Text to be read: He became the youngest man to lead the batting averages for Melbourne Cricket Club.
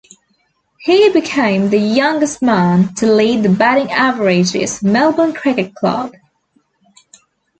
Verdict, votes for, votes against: rejected, 1, 2